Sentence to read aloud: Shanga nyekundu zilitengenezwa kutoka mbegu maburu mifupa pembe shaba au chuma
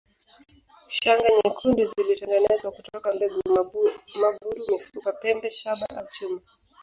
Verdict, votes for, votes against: rejected, 0, 4